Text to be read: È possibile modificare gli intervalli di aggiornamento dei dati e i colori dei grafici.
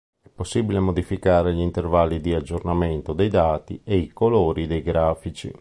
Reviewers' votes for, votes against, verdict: 2, 0, accepted